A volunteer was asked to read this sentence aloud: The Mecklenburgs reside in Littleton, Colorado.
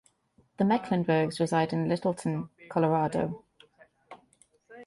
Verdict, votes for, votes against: accepted, 2, 0